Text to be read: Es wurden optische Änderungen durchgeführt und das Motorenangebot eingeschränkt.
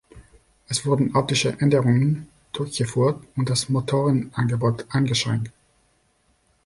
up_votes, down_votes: 3, 0